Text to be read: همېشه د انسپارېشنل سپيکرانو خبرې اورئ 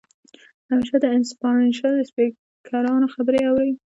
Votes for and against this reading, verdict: 0, 2, rejected